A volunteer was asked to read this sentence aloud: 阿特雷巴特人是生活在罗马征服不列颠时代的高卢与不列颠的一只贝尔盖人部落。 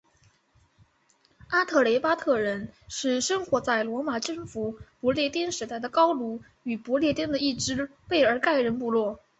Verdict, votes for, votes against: accepted, 4, 0